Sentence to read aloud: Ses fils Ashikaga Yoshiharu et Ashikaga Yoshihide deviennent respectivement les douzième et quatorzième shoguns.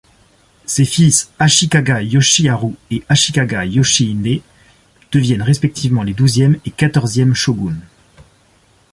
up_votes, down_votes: 2, 0